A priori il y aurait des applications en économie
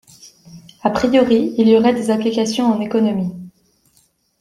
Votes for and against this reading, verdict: 2, 1, accepted